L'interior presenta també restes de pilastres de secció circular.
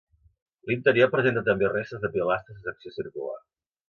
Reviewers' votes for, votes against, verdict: 2, 1, accepted